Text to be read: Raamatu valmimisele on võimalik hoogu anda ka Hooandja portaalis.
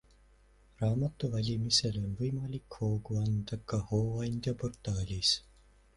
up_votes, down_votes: 2, 0